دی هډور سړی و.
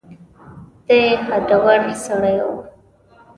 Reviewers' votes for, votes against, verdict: 1, 2, rejected